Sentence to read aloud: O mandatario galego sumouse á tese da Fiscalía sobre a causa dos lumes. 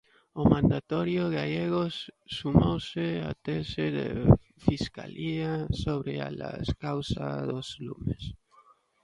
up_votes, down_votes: 0, 2